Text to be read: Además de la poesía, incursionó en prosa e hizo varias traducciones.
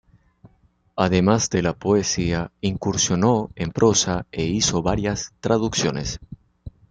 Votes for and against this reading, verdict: 2, 0, accepted